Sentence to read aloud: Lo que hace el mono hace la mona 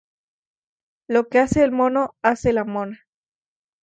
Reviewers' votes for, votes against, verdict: 2, 0, accepted